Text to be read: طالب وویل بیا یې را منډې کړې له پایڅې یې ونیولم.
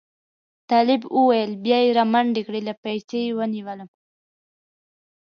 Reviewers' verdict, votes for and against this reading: accepted, 2, 0